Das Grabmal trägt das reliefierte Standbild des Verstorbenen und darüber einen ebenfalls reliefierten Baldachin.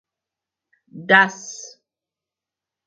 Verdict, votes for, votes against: rejected, 0, 4